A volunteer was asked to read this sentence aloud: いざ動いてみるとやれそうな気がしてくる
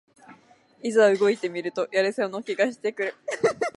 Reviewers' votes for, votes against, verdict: 2, 0, accepted